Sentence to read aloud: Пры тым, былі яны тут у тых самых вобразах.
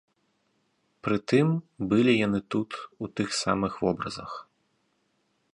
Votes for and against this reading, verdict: 2, 2, rejected